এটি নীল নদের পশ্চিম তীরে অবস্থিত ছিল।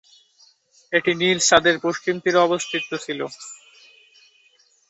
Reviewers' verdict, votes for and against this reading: rejected, 0, 2